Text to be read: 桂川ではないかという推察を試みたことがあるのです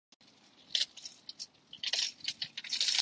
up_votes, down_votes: 0, 3